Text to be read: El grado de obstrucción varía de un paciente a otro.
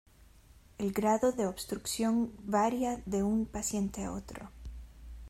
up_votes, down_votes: 1, 2